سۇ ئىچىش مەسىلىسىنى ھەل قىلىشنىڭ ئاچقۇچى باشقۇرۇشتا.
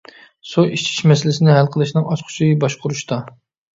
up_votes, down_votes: 2, 0